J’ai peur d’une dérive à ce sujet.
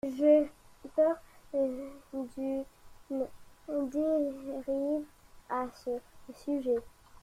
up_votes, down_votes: 2, 0